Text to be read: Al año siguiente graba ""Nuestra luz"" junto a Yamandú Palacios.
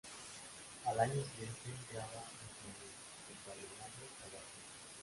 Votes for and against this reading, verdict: 0, 2, rejected